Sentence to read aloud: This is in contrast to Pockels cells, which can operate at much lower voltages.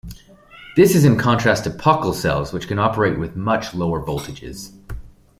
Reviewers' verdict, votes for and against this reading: rejected, 1, 2